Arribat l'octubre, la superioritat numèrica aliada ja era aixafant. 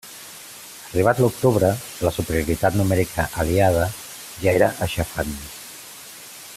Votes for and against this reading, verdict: 2, 0, accepted